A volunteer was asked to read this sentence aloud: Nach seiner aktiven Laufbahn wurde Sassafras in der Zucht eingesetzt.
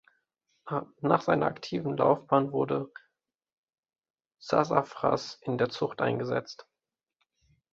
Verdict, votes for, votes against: rejected, 1, 2